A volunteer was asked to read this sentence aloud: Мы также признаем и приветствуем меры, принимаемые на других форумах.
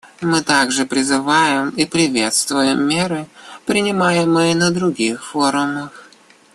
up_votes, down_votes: 0, 2